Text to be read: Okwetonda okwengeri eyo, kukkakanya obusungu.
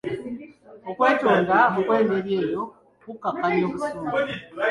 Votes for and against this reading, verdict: 2, 1, accepted